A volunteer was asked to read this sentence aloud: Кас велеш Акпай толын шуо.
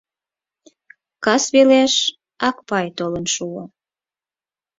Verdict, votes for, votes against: accepted, 4, 0